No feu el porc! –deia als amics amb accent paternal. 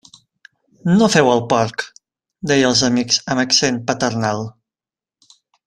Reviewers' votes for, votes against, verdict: 2, 1, accepted